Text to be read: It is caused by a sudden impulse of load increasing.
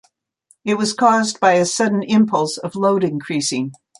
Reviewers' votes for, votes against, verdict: 1, 2, rejected